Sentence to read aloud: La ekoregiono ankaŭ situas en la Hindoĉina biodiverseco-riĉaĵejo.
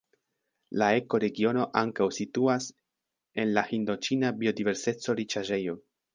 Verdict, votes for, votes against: accepted, 2, 1